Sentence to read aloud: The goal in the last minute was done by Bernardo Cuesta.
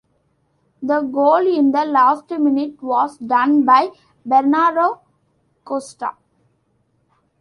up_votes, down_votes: 2, 1